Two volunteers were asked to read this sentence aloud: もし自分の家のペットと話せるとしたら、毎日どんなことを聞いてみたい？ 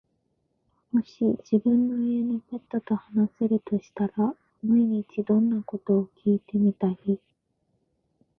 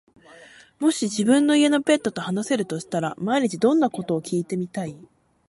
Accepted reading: second